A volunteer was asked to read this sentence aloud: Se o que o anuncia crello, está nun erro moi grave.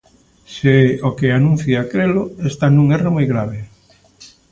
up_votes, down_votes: 0, 2